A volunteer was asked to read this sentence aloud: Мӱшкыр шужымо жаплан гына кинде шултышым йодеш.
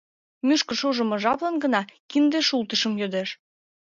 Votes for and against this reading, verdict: 2, 0, accepted